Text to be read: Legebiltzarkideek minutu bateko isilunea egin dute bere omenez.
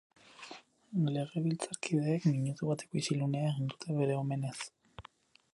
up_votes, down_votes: 0, 4